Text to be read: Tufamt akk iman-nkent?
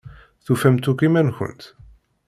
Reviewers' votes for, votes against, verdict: 2, 0, accepted